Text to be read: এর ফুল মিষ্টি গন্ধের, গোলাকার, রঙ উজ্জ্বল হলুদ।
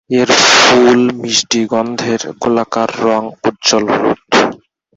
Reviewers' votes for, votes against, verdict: 0, 2, rejected